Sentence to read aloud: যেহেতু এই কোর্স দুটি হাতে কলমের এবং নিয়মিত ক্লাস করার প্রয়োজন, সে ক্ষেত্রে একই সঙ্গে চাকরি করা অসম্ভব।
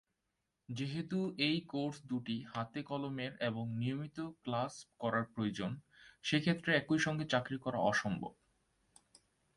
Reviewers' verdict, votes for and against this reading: rejected, 1, 2